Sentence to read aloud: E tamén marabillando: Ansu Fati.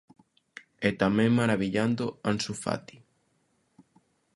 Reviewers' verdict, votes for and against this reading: accepted, 2, 0